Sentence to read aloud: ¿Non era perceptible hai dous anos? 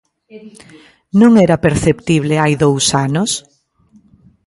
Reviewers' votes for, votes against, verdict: 1, 2, rejected